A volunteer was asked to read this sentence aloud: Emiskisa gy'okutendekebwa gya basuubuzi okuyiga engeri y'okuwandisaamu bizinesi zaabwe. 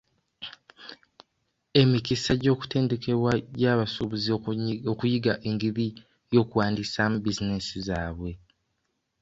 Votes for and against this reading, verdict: 1, 2, rejected